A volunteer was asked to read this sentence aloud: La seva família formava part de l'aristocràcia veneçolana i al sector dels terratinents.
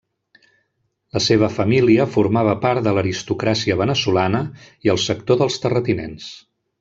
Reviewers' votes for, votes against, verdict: 0, 2, rejected